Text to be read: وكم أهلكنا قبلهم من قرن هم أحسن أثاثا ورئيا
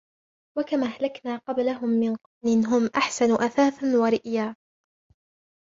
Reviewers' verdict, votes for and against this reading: rejected, 0, 2